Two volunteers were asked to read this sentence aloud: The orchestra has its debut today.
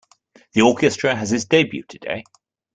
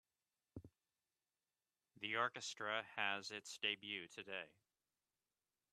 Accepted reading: first